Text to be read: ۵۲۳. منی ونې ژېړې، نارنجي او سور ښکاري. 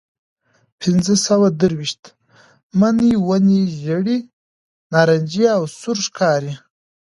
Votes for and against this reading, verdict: 0, 2, rejected